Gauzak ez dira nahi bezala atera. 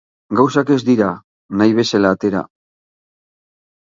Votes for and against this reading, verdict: 3, 3, rejected